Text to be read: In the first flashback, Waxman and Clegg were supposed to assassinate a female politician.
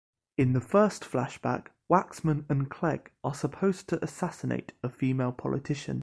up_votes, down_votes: 0, 2